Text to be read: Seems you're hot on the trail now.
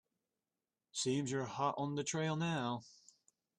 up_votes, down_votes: 2, 0